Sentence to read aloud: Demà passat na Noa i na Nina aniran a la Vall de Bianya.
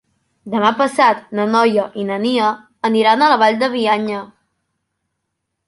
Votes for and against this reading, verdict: 1, 2, rejected